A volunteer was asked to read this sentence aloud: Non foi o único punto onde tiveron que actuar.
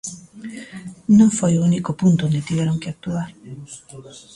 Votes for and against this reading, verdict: 0, 2, rejected